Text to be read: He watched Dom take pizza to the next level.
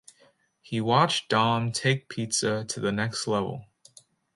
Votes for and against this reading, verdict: 2, 0, accepted